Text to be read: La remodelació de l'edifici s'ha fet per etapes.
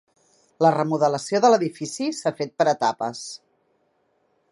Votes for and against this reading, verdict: 3, 0, accepted